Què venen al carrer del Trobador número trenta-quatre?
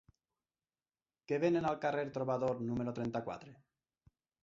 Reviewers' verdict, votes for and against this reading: rejected, 1, 2